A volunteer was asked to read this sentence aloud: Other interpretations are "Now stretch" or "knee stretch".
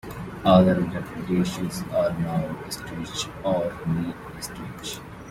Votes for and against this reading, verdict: 1, 2, rejected